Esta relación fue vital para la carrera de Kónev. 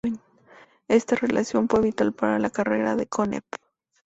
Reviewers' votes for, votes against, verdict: 4, 0, accepted